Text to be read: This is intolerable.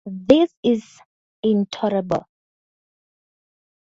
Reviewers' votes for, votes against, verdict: 2, 0, accepted